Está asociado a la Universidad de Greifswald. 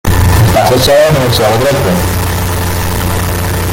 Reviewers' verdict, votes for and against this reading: rejected, 0, 2